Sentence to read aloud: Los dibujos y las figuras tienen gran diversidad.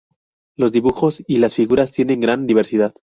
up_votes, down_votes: 2, 2